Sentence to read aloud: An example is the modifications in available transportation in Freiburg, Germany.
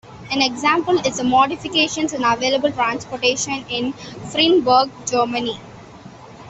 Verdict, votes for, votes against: rejected, 1, 2